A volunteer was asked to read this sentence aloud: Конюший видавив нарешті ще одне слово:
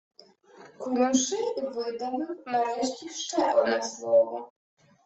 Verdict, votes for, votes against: rejected, 0, 2